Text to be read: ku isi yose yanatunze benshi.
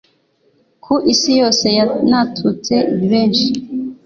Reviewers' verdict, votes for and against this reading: rejected, 1, 2